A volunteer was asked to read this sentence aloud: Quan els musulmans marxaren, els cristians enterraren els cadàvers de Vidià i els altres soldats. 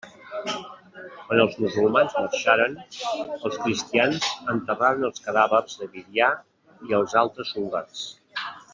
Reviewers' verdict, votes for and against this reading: rejected, 0, 2